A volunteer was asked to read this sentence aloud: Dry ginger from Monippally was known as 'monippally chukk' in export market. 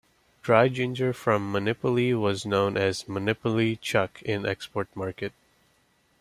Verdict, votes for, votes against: accepted, 2, 0